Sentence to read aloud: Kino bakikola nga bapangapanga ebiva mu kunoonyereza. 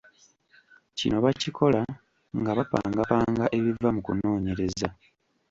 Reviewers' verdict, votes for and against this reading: accepted, 2, 0